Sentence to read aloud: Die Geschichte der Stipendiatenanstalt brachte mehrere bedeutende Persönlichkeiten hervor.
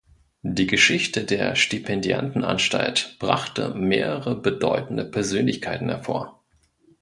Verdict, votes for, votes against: rejected, 1, 2